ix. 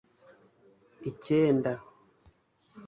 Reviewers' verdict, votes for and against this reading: rejected, 0, 2